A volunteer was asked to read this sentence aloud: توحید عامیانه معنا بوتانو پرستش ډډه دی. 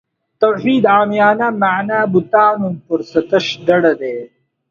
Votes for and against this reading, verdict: 2, 1, accepted